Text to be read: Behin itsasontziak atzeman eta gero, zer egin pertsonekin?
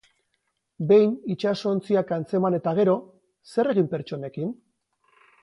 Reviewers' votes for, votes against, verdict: 0, 4, rejected